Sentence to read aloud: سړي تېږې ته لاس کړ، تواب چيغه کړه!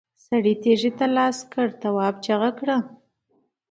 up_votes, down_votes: 2, 1